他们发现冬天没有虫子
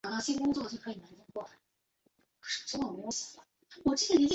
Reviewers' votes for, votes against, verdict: 0, 4, rejected